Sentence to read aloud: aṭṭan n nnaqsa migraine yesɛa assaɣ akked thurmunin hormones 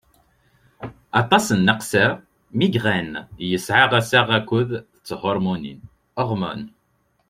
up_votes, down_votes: 1, 2